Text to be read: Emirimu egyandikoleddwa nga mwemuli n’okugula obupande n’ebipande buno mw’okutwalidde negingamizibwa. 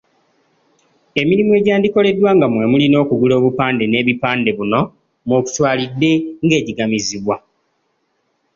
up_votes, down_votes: 1, 2